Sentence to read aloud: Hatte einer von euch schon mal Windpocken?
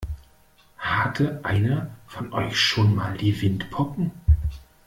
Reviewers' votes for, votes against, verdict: 0, 2, rejected